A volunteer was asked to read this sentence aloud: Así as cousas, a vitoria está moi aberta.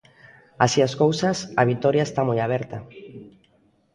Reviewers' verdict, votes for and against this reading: accepted, 2, 0